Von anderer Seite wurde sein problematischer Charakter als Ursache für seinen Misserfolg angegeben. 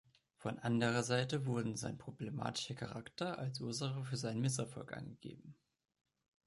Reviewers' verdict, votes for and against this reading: rejected, 1, 2